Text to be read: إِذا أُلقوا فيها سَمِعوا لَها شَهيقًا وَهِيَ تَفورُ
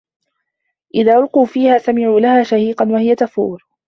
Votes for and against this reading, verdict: 2, 1, accepted